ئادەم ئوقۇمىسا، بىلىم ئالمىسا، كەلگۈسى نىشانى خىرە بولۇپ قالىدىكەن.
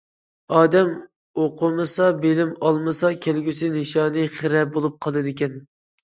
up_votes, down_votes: 2, 0